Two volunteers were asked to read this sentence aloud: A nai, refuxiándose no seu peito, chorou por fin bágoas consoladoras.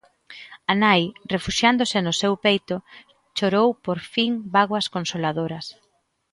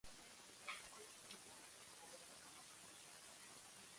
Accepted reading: first